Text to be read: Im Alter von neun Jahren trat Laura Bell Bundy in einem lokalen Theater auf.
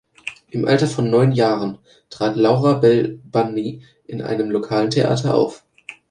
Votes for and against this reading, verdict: 4, 1, accepted